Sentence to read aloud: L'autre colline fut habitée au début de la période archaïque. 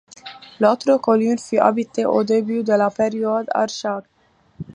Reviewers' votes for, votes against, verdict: 1, 2, rejected